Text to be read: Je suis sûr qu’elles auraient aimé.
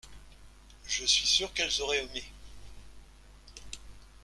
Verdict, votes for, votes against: accepted, 2, 0